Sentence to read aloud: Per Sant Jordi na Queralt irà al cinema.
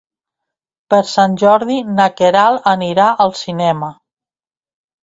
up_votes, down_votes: 0, 3